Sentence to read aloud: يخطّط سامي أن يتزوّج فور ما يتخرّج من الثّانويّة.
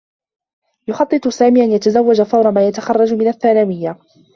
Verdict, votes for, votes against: accepted, 2, 0